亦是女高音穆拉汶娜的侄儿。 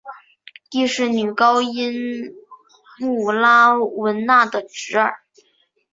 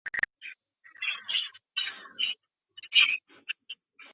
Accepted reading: first